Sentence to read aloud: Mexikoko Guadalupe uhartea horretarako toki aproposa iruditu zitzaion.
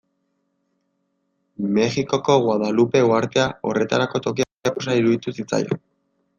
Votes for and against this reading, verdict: 0, 2, rejected